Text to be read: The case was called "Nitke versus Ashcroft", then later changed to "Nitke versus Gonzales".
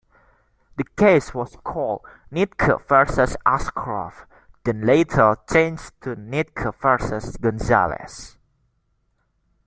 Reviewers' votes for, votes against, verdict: 2, 1, accepted